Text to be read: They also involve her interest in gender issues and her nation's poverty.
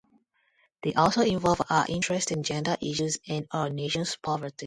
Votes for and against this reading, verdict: 0, 2, rejected